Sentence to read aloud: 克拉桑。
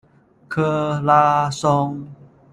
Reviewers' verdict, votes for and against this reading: rejected, 1, 2